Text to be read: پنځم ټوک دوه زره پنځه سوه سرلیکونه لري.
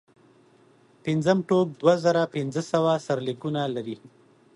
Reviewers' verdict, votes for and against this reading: accepted, 2, 0